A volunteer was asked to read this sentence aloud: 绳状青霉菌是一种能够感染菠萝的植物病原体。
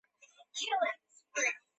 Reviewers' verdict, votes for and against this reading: rejected, 1, 2